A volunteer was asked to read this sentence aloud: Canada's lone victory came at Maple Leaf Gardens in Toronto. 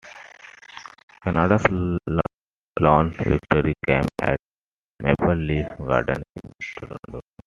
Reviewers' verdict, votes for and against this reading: rejected, 0, 2